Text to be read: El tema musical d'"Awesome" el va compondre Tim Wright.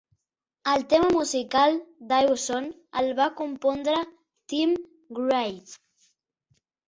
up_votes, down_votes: 0, 2